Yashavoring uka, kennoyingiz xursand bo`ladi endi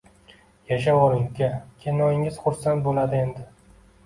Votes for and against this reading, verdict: 2, 0, accepted